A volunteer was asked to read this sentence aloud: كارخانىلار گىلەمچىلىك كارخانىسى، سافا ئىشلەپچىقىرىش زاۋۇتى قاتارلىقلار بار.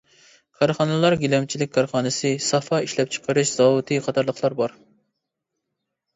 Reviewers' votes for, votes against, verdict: 2, 0, accepted